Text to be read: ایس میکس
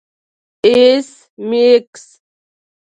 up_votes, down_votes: 1, 2